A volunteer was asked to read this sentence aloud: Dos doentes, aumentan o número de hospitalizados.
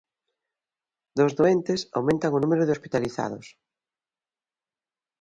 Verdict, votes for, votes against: accepted, 2, 0